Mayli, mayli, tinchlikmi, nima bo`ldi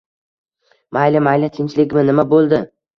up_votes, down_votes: 2, 0